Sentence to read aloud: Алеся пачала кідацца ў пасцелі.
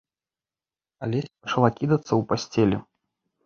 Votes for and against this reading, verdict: 0, 2, rejected